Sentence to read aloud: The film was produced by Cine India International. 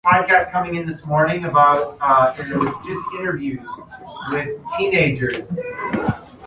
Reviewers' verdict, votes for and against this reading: rejected, 1, 2